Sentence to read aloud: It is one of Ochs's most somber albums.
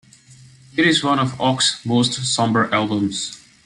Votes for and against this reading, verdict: 2, 0, accepted